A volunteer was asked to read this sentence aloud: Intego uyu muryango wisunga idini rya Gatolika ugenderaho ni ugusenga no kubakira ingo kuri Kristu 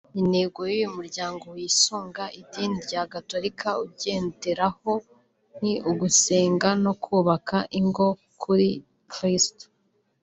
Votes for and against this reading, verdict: 0, 2, rejected